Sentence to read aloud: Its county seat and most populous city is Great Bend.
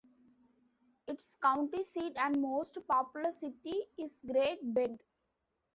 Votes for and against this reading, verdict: 2, 1, accepted